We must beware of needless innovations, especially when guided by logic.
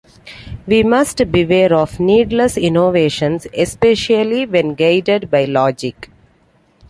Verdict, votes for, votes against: accepted, 2, 1